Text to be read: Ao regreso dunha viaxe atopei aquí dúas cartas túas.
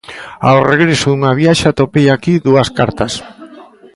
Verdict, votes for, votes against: rejected, 0, 2